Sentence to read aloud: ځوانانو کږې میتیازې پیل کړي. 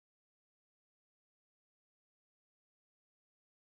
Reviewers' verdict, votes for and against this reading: rejected, 1, 2